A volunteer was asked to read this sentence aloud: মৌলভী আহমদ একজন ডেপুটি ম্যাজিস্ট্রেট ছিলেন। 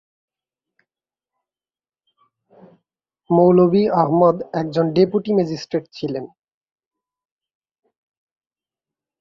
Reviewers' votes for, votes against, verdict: 2, 0, accepted